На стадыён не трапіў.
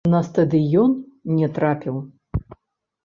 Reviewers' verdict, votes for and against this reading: rejected, 0, 3